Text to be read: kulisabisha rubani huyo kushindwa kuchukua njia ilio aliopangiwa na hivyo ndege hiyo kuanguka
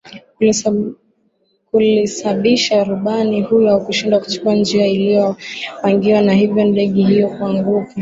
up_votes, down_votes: 2, 0